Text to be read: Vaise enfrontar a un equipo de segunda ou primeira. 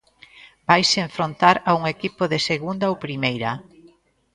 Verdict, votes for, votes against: accepted, 2, 0